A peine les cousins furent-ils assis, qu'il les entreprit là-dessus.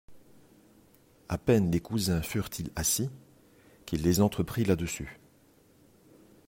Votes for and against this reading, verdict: 2, 0, accepted